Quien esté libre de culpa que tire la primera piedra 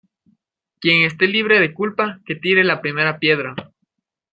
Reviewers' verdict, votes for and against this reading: accepted, 2, 0